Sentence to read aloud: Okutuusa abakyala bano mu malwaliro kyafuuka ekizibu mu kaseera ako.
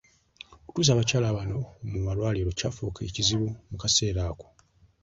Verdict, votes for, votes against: accepted, 2, 0